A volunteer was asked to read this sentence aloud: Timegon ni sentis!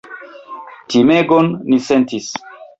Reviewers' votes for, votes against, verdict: 4, 0, accepted